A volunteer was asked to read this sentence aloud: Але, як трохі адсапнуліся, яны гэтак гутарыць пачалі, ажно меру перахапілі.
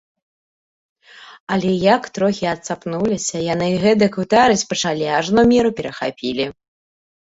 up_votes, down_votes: 1, 2